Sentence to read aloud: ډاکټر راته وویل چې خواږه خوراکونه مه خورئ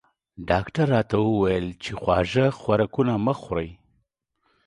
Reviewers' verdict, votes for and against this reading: accepted, 2, 0